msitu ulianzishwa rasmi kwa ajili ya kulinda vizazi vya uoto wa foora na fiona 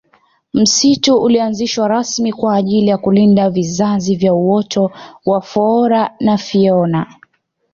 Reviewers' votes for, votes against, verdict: 2, 0, accepted